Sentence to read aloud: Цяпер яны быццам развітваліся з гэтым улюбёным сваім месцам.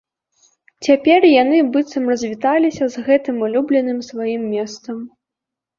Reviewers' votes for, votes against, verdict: 0, 2, rejected